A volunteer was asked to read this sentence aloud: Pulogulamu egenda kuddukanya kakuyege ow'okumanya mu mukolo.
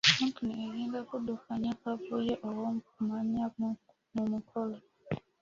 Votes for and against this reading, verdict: 0, 2, rejected